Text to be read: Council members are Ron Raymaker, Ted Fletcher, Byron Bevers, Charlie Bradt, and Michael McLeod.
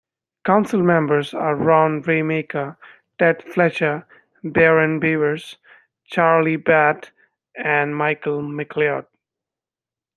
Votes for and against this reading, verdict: 1, 2, rejected